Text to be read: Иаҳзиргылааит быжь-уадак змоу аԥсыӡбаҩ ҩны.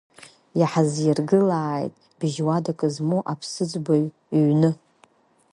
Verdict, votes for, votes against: accepted, 7, 1